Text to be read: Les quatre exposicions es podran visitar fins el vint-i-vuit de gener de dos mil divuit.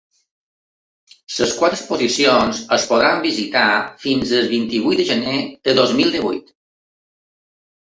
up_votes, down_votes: 0, 3